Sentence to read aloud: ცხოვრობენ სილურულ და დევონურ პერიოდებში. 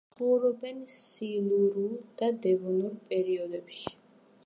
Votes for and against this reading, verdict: 1, 2, rejected